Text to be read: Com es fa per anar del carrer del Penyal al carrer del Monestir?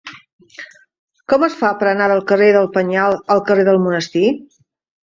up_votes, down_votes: 2, 0